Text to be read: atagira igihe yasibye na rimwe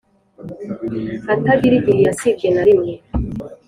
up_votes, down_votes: 3, 0